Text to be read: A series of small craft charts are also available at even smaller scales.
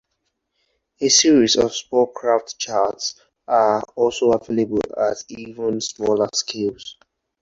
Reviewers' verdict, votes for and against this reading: rejected, 0, 2